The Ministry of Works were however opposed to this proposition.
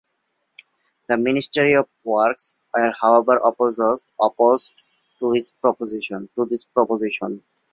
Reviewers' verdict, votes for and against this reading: rejected, 0, 2